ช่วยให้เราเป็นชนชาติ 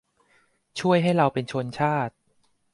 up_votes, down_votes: 2, 0